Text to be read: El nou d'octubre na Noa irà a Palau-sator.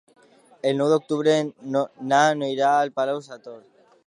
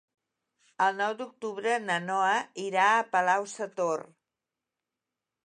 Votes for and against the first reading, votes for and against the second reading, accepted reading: 0, 2, 3, 0, second